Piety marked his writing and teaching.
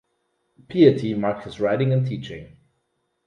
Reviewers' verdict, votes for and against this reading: rejected, 0, 2